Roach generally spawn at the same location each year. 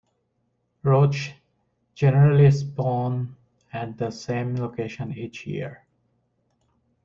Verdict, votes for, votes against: accepted, 2, 0